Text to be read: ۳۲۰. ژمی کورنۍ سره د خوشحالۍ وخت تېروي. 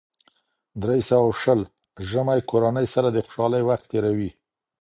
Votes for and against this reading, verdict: 0, 2, rejected